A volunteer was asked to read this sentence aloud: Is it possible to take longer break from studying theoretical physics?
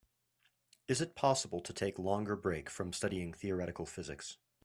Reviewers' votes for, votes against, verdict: 2, 0, accepted